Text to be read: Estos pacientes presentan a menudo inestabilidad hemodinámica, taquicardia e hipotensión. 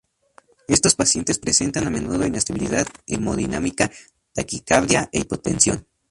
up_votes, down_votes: 0, 2